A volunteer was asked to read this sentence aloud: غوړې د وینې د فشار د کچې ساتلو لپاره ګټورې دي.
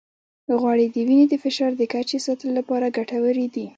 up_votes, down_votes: 0, 2